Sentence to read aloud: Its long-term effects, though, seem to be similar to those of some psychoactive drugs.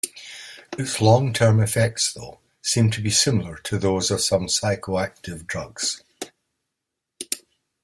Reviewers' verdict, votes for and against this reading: accepted, 2, 0